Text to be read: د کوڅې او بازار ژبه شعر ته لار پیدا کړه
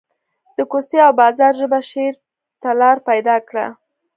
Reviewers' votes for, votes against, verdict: 2, 0, accepted